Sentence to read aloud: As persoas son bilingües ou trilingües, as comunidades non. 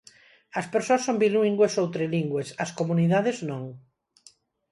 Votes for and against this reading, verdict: 0, 4, rejected